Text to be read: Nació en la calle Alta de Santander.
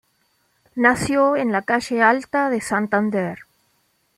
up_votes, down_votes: 2, 0